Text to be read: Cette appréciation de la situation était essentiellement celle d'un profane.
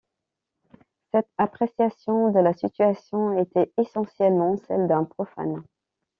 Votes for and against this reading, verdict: 1, 3, rejected